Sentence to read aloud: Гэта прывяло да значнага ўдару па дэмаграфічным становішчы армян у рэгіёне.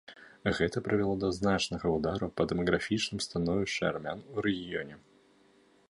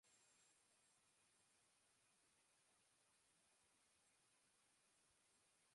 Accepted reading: first